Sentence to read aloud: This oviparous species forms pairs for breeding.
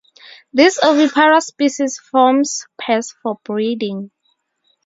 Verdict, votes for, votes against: accepted, 2, 0